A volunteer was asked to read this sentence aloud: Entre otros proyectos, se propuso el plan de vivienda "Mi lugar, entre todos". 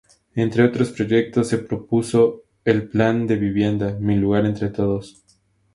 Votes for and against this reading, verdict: 2, 0, accepted